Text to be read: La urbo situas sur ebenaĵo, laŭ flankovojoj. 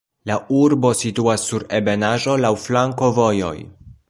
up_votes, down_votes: 2, 0